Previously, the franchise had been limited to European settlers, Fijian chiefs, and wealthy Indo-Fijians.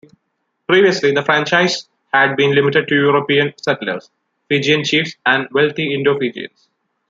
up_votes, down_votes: 2, 0